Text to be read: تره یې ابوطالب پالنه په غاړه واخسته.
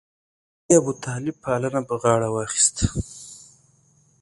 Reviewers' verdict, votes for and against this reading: rejected, 1, 2